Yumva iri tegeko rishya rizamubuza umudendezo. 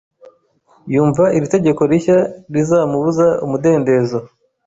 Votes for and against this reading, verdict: 3, 0, accepted